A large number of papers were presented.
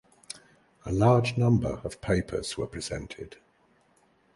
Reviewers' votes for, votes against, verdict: 2, 0, accepted